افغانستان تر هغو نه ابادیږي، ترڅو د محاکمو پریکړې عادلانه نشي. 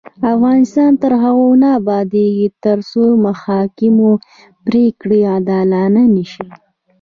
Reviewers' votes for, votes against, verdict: 1, 2, rejected